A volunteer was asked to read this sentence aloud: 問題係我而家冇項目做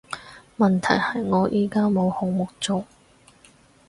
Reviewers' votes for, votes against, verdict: 2, 4, rejected